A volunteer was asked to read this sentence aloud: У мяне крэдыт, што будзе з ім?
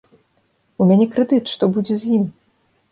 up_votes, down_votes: 3, 0